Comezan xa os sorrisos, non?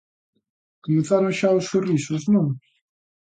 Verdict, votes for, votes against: rejected, 0, 2